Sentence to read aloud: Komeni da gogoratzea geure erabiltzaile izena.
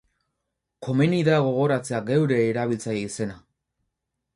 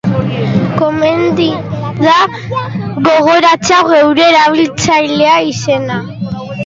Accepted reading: first